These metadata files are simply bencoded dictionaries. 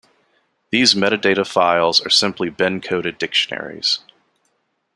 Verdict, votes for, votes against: rejected, 0, 2